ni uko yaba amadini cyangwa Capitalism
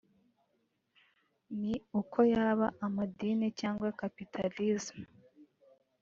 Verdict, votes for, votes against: rejected, 1, 2